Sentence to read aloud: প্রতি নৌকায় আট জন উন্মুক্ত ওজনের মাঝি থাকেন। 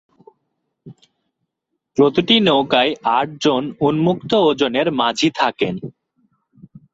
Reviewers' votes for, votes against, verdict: 4, 6, rejected